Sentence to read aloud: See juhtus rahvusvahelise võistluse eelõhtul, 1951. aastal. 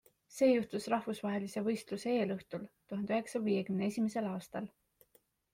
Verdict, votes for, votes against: rejected, 0, 2